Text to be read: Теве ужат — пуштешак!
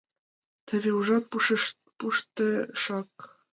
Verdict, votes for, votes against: rejected, 1, 2